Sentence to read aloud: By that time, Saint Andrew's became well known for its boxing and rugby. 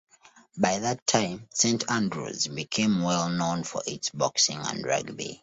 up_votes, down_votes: 2, 0